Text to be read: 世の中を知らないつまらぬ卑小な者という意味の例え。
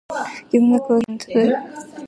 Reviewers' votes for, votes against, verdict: 0, 2, rejected